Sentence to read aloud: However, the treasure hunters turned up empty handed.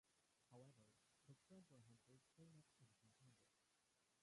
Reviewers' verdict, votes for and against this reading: rejected, 0, 2